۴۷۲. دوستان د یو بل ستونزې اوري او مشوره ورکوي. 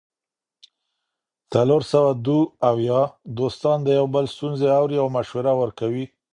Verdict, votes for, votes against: rejected, 0, 2